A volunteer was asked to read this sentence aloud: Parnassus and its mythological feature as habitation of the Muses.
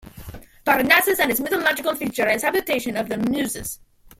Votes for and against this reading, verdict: 1, 2, rejected